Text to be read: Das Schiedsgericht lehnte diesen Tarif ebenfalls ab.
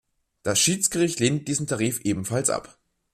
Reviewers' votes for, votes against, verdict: 1, 2, rejected